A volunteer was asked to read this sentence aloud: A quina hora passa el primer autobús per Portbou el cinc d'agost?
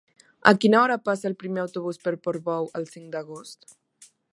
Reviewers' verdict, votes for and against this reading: accepted, 3, 1